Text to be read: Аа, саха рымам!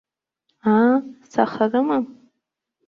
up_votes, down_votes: 2, 1